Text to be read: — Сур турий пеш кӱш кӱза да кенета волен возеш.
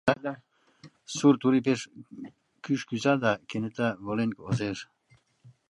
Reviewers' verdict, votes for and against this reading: rejected, 1, 3